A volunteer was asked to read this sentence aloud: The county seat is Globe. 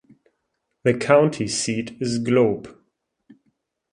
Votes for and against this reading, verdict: 2, 0, accepted